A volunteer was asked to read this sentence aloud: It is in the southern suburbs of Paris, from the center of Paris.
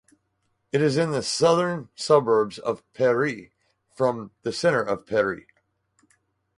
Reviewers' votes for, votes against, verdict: 2, 2, rejected